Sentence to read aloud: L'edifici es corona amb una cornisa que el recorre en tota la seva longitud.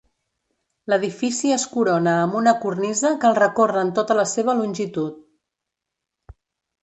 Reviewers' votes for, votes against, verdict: 2, 0, accepted